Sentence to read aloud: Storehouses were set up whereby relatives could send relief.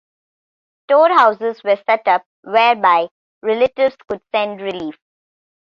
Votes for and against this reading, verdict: 2, 0, accepted